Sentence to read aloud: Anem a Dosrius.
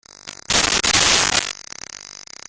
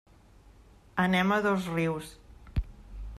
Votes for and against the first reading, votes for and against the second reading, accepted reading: 0, 2, 2, 0, second